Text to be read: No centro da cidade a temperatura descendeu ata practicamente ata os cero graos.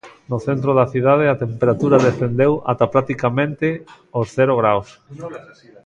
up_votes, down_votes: 1, 2